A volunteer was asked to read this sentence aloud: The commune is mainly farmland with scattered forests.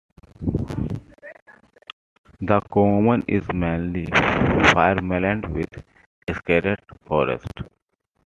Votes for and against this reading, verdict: 2, 1, accepted